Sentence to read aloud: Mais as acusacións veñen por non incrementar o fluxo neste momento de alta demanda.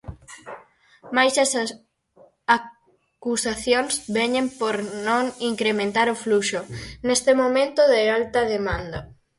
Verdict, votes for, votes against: rejected, 0, 4